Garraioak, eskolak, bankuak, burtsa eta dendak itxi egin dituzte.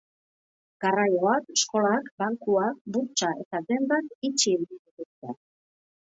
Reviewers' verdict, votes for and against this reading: accepted, 2, 0